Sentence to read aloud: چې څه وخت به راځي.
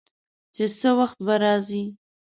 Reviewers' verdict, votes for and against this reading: accepted, 2, 0